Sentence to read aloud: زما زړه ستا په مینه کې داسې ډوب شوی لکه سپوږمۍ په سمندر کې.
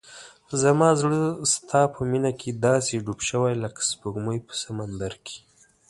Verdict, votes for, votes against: accepted, 2, 0